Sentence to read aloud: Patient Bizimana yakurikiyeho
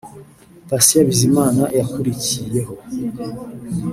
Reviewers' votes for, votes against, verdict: 2, 0, accepted